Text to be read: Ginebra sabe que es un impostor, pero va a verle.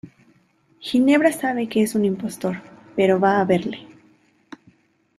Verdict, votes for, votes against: accepted, 2, 0